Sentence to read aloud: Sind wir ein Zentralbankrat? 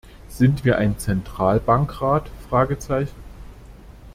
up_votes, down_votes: 0, 2